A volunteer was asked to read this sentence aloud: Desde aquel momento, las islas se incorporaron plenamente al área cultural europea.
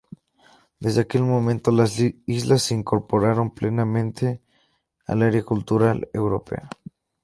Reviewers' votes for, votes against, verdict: 4, 0, accepted